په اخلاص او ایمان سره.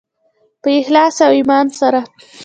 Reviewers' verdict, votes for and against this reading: accepted, 2, 1